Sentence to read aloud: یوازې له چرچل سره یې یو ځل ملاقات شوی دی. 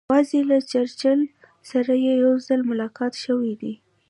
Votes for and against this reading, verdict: 2, 0, accepted